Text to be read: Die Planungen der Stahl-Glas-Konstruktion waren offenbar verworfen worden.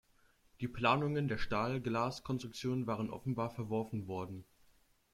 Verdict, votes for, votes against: rejected, 1, 2